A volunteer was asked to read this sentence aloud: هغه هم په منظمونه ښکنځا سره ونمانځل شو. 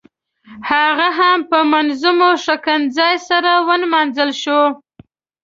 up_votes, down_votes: 0, 2